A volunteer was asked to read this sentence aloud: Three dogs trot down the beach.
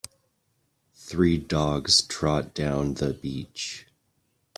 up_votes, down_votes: 2, 0